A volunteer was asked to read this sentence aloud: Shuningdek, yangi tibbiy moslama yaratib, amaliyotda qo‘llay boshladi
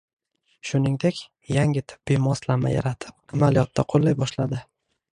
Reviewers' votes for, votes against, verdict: 1, 2, rejected